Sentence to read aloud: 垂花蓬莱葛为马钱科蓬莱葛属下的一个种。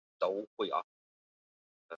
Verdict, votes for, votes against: rejected, 0, 4